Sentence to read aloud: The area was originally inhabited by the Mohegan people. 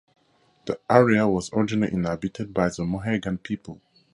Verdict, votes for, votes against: rejected, 0, 2